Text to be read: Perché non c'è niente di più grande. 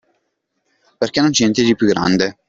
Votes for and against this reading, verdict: 1, 2, rejected